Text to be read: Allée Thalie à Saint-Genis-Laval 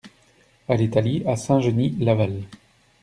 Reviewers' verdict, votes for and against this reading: rejected, 1, 2